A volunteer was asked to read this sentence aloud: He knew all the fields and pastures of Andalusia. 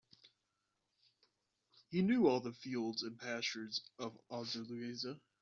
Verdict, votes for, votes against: rejected, 0, 2